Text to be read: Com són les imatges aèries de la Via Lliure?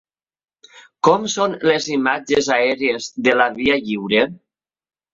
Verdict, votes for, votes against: accepted, 2, 1